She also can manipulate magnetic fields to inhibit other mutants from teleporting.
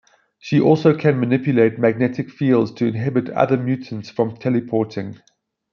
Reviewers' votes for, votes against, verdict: 3, 0, accepted